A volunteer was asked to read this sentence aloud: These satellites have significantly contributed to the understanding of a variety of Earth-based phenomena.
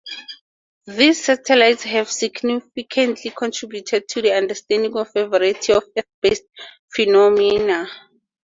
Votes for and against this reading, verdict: 2, 4, rejected